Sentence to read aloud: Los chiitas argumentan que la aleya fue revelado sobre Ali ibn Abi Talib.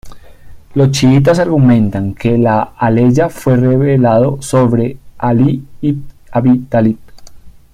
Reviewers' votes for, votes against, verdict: 2, 0, accepted